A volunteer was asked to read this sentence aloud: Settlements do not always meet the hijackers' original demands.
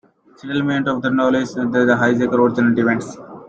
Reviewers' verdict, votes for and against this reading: rejected, 0, 2